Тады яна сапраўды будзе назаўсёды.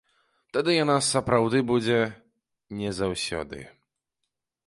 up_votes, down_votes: 0, 2